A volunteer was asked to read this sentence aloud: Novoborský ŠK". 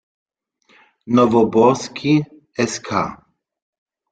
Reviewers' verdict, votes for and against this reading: rejected, 1, 2